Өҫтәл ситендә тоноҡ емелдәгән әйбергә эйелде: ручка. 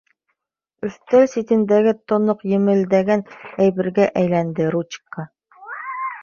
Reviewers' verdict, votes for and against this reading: rejected, 1, 2